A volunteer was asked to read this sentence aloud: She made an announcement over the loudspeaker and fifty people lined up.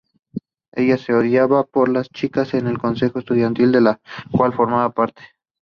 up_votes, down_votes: 0, 2